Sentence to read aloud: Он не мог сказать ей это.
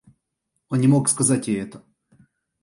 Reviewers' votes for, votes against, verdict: 2, 0, accepted